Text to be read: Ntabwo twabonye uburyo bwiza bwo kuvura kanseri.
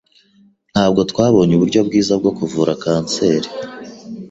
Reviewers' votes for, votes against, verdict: 2, 0, accepted